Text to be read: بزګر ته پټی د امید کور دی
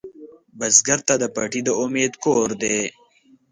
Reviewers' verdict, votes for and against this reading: rejected, 1, 2